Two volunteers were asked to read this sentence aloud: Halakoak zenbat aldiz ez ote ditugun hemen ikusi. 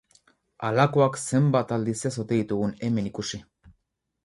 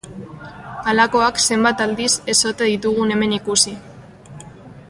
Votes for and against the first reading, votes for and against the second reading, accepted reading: 2, 2, 2, 0, second